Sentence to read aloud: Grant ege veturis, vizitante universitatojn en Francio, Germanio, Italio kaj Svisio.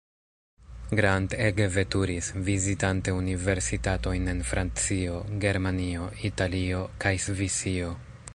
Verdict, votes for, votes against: rejected, 1, 2